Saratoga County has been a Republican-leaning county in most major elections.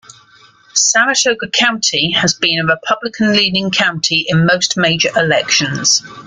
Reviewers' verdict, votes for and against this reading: accepted, 2, 0